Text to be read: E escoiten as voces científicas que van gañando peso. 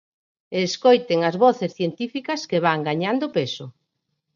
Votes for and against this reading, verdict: 4, 0, accepted